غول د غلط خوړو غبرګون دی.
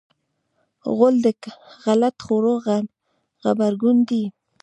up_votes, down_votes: 0, 2